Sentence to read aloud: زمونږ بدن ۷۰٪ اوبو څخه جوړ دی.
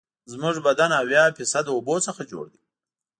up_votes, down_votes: 0, 2